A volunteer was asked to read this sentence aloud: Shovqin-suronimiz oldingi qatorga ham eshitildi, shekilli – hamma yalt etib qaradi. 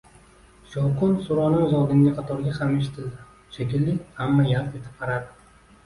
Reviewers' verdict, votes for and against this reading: accepted, 2, 0